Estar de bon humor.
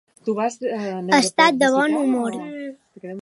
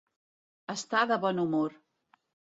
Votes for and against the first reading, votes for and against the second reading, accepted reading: 1, 2, 2, 0, second